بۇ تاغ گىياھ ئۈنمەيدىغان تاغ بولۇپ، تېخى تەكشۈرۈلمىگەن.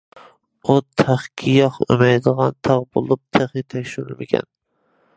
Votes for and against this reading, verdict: 0, 2, rejected